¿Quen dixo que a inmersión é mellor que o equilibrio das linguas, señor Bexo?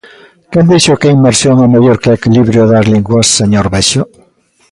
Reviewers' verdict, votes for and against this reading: accepted, 2, 0